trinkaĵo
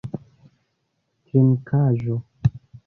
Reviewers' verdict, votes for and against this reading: rejected, 0, 2